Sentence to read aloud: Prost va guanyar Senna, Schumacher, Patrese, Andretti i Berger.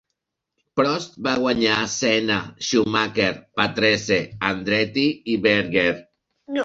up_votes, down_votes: 1, 3